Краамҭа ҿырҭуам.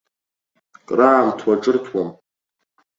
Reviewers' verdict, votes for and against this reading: rejected, 0, 2